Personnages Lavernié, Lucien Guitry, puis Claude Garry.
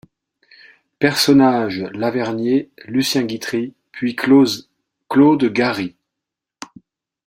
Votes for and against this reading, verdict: 0, 2, rejected